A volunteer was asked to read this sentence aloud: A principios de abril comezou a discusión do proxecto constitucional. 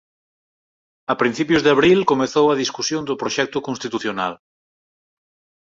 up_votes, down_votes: 6, 0